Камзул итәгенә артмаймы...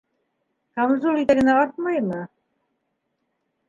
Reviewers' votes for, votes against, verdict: 3, 1, accepted